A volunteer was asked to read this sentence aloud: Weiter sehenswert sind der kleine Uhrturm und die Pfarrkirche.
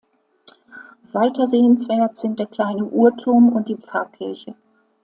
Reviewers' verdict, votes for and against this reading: accepted, 2, 0